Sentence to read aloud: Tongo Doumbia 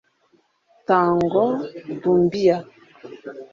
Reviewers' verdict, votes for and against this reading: rejected, 0, 2